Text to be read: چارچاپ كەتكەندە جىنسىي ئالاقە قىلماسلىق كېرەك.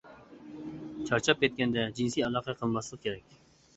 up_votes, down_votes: 2, 1